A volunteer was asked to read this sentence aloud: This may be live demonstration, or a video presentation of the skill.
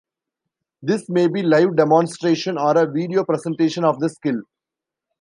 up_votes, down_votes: 2, 0